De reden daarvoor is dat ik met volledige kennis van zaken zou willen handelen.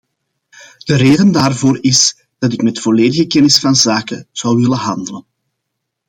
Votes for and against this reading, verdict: 2, 0, accepted